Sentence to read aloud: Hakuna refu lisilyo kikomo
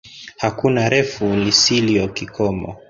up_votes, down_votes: 1, 2